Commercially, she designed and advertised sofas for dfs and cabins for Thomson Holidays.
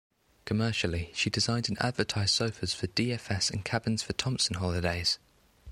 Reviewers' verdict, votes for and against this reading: accepted, 2, 0